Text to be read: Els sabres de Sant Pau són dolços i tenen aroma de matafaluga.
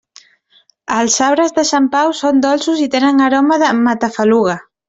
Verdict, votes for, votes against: accepted, 2, 0